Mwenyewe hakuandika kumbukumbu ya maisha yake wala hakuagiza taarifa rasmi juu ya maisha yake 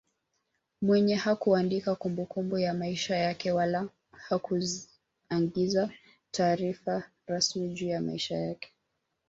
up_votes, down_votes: 2, 1